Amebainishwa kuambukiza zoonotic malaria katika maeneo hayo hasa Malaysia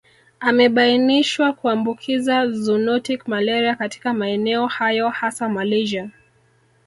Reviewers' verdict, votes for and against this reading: accepted, 2, 0